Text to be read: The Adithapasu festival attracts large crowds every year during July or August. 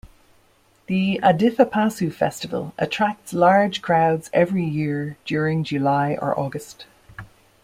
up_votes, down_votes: 2, 0